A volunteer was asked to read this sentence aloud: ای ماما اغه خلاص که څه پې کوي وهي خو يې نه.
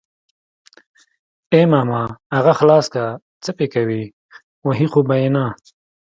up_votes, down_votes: 2, 0